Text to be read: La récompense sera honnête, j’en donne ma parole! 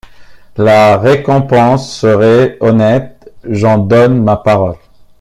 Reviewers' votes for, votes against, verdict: 0, 2, rejected